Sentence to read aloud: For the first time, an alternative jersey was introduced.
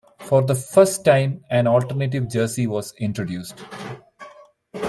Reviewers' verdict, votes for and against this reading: accepted, 2, 0